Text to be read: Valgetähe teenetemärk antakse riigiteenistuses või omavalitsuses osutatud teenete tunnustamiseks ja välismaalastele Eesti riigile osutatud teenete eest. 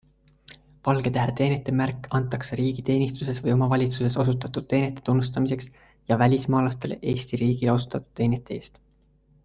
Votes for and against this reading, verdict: 2, 1, accepted